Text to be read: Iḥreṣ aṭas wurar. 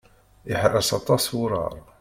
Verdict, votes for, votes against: rejected, 0, 2